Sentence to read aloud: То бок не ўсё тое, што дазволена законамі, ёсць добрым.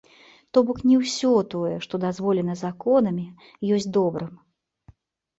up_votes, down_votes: 2, 1